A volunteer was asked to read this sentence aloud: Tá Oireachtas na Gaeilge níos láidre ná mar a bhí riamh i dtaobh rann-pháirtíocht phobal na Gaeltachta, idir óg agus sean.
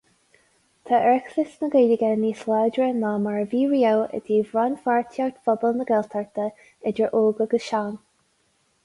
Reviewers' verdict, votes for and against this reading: accepted, 2, 0